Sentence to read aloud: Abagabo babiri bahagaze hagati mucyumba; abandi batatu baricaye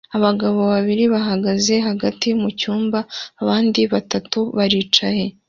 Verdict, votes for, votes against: accepted, 2, 0